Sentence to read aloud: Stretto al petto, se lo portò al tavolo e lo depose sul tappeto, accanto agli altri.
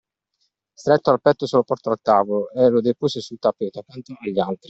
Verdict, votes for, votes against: rejected, 0, 2